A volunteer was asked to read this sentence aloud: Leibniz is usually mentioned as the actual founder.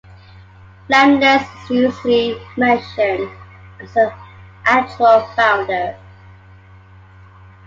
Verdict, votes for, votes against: accepted, 2, 1